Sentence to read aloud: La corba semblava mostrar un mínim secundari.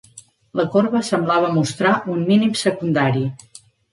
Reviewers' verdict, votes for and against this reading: accepted, 3, 0